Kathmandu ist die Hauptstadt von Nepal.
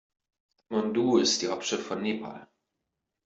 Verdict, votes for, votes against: rejected, 1, 2